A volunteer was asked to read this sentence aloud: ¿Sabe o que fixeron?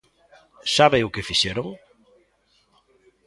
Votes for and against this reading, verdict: 2, 0, accepted